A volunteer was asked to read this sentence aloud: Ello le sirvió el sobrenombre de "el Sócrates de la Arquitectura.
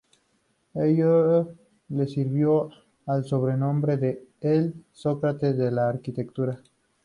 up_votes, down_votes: 2, 0